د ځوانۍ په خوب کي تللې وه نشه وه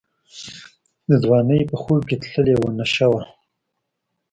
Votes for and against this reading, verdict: 2, 0, accepted